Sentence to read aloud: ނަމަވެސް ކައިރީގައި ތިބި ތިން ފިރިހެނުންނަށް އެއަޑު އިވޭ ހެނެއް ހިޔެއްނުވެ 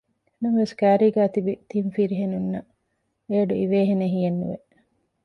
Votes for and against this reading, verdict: 2, 0, accepted